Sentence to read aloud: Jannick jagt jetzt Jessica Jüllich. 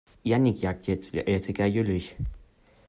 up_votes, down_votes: 0, 2